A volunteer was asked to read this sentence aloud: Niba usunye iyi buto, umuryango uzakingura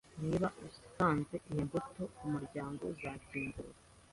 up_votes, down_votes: 1, 2